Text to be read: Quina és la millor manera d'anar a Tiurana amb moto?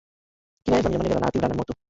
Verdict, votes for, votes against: rejected, 0, 2